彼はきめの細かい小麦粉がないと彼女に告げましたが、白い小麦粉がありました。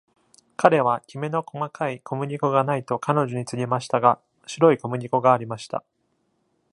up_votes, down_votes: 2, 0